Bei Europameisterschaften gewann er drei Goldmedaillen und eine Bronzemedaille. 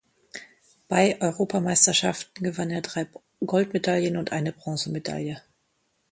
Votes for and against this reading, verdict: 1, 2, rejected